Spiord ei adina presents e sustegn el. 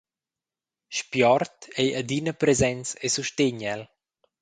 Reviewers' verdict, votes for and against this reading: accepted, 2, 0